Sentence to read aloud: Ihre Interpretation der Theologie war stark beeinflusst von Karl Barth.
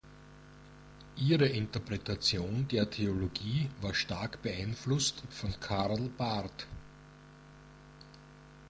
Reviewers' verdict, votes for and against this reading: accepted, 3, 0